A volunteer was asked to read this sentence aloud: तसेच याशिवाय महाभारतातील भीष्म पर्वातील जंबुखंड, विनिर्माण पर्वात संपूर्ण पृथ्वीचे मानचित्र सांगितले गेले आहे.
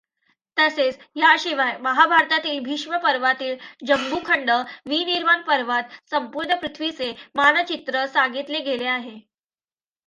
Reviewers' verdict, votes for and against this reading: accepted, 2, 0